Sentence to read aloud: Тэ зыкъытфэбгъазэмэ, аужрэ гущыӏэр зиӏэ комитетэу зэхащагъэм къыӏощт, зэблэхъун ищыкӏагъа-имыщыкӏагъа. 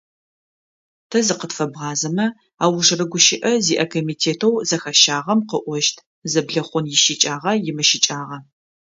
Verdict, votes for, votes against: rejected, 1, 2